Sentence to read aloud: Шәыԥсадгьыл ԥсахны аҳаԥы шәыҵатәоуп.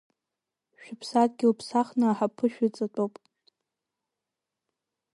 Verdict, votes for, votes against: accepted, 3, 0